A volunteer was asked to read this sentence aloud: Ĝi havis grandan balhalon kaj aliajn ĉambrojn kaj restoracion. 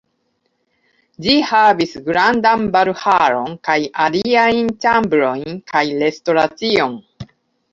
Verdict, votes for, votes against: rejected, 0, 2